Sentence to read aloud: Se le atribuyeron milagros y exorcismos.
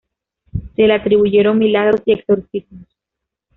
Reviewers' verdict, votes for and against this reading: accepted, 2, 0